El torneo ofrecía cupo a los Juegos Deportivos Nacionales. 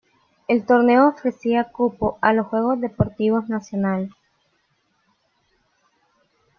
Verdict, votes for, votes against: accepted, 2, 0